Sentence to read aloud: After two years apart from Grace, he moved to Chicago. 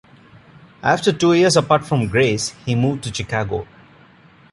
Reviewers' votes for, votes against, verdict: 2, 0, accepted